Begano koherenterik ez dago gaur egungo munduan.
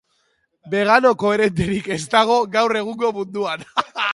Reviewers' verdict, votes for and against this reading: rejected, 0, 2